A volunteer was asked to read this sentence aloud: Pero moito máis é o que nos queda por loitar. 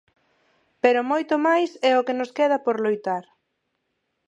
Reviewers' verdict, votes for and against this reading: accepted, 4, 0